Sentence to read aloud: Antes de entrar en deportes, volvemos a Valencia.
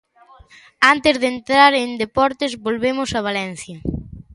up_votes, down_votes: 2, 0